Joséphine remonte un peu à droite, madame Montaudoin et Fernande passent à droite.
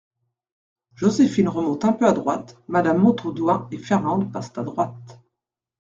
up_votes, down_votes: 2, 0